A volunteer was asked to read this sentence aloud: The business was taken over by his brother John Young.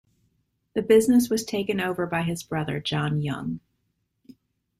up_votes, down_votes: 2, 0